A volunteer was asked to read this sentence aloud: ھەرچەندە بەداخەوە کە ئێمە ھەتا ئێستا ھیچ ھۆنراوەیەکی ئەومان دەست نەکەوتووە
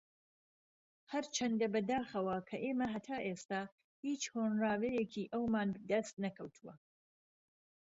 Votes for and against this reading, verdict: 2, 0, accepted